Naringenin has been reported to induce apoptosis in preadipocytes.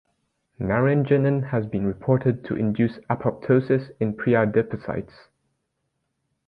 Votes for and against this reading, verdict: 2, 0, accepted